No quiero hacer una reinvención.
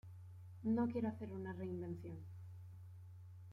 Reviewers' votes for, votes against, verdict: 0, 2, rejected